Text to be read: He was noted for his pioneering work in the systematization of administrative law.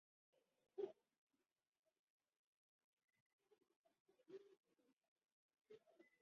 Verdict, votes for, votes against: rejected, 0, 2